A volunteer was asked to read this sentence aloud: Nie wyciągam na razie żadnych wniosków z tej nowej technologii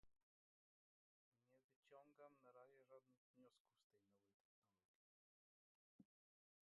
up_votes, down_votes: 0, 2